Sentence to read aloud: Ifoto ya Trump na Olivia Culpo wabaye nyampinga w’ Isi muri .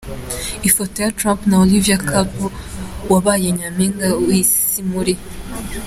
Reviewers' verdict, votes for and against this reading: accepted, 2, 0